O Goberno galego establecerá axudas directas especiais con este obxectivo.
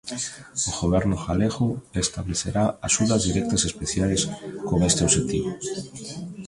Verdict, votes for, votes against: rejected, 0, 2